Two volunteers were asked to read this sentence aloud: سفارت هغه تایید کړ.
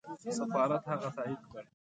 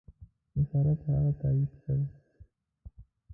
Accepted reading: first